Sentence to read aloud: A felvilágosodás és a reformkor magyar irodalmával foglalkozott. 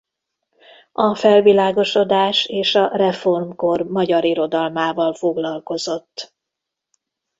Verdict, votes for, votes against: rejected, 0, 2